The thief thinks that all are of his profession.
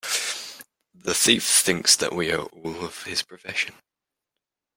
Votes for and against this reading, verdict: 0, 2, rejected